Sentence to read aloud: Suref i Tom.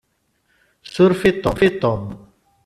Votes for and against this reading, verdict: 0, 2, rejected